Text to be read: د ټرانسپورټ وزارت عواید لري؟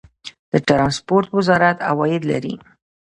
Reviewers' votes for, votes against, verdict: 2, 0, accepted